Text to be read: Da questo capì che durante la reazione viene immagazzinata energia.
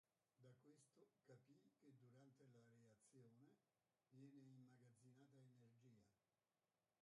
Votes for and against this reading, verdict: 0, 2, rejected